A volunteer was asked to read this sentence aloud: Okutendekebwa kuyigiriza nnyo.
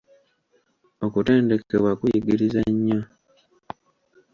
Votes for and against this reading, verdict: 2, 0, accepted